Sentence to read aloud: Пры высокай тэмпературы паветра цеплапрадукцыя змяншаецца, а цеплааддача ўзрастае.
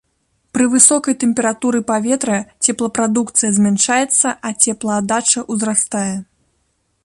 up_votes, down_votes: 2, 0